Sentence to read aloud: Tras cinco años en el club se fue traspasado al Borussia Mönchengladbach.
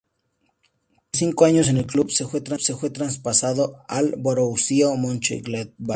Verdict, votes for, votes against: accepted, 2, 0